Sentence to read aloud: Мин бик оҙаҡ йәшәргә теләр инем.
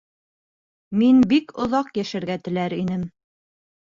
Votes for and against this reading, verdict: 2, 0, accepted